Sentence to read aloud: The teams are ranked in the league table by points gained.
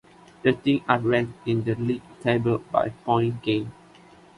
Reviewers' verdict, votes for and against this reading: rejected, 1, 2